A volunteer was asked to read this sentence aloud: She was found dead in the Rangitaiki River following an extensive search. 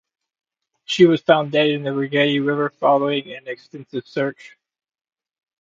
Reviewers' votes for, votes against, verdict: 0, 2, rejected